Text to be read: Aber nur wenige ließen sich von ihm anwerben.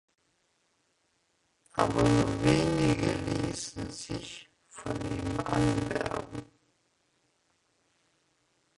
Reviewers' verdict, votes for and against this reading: rejected, 0, 2